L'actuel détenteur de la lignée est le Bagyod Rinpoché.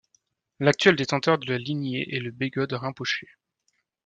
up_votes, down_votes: 1, 2